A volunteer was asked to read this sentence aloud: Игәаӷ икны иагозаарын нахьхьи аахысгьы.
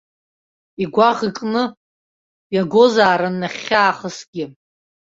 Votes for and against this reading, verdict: 2, 0, accepted